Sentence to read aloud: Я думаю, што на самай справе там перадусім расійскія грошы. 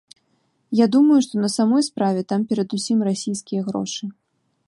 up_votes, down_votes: 1, 2